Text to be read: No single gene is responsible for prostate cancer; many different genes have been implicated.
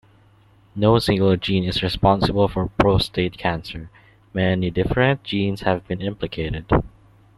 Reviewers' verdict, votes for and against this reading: accepted, 2, 0